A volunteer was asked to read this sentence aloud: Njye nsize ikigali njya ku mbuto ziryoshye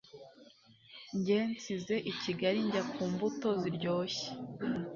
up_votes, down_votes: 2, 1